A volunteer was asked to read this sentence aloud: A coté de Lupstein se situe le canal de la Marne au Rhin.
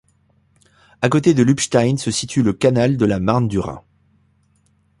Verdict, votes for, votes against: rejected, 1, 2